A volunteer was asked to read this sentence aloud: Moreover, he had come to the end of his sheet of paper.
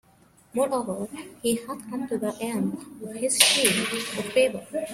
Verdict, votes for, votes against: accepted, 2, 1